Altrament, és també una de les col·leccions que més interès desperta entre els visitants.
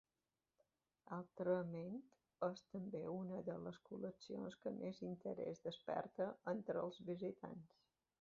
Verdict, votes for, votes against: accepted, 2, 0